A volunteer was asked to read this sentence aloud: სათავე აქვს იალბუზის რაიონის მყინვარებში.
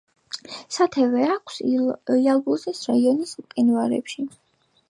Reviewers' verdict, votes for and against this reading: accepted, 2, 1